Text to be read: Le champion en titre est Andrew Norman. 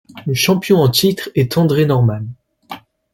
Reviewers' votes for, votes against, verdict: 0, 2, rejected